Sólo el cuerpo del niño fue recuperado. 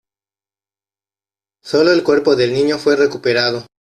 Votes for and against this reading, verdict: 2, 0, accepted